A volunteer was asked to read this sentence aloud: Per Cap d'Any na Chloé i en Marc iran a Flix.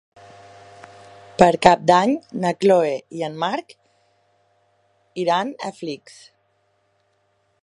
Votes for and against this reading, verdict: 3, 1, accepted